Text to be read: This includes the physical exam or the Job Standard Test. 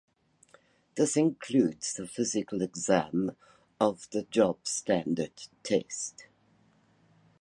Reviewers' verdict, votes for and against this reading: rejected, 0, 2